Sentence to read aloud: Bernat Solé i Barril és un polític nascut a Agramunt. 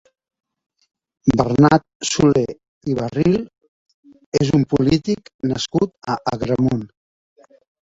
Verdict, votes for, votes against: accepted, 2, 1